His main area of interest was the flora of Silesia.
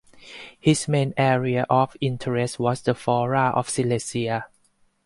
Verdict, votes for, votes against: accepted, 4, 0